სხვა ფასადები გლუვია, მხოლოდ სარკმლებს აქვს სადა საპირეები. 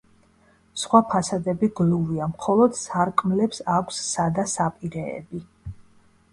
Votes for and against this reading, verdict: 2, 0, accepted